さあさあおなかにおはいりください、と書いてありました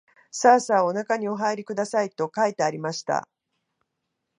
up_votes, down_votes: 2, 0